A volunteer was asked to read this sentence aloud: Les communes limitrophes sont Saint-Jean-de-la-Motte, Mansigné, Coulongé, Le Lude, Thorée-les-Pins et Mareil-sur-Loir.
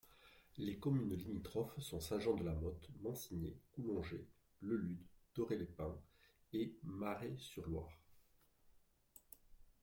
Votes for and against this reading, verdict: 0, 2, rejected